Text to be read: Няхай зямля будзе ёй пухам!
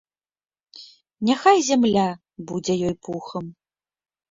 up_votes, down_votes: 2, 0